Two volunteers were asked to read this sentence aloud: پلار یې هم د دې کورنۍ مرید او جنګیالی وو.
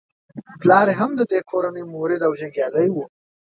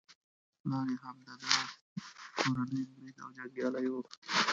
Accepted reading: first